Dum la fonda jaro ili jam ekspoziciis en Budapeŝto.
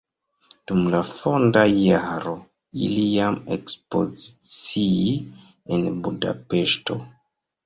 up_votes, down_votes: 1, 2